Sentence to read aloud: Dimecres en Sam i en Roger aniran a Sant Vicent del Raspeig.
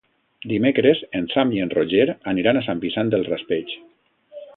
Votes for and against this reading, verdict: 2, 0, accepted